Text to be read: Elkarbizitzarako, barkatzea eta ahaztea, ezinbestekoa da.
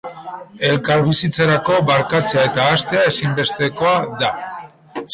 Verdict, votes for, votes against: rejected, 2, 2